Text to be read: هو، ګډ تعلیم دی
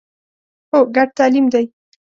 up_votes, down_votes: 2, 0